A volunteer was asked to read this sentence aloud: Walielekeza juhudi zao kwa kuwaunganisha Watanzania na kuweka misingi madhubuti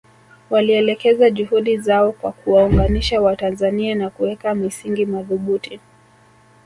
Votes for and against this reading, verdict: 3, 0, accepted